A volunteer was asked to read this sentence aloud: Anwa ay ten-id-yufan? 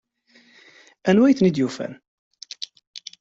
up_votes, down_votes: 2, 0